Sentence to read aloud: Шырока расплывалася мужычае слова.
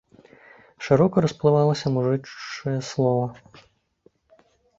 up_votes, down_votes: 0, 2